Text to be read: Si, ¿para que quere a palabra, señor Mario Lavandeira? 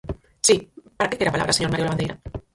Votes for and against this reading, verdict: 0, 6, rejected